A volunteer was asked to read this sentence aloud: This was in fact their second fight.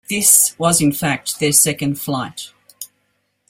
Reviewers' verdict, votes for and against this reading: rejected, 0, 2